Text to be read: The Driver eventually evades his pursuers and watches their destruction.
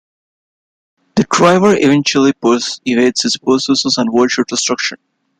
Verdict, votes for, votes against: rejected, 1, 3